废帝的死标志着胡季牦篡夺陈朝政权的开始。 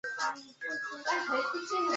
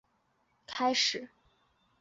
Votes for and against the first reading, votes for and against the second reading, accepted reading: 0, 2, 5, 1, second